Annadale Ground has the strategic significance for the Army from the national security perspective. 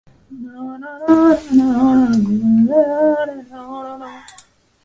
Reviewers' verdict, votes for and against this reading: rejected, 0, 2